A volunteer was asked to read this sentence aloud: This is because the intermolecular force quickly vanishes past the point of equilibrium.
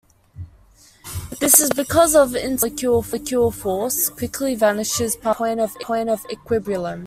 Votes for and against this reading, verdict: 0, 2, rejected